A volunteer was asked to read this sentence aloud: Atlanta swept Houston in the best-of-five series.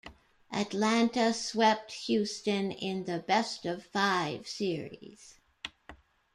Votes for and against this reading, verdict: 2, 0, accepted